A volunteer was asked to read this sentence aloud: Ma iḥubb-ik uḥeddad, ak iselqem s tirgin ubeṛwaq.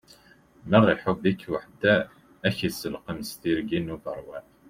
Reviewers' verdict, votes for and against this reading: rejected, 0, 2